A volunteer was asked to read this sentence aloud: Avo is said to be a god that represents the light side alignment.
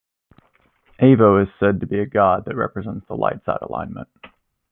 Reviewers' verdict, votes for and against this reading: accepted, 2, 0